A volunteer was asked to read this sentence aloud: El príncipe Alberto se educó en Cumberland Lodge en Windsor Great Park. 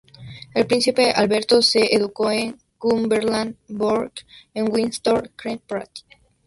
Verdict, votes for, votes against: rejected, 0, 2